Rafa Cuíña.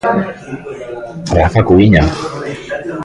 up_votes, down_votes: 1, 2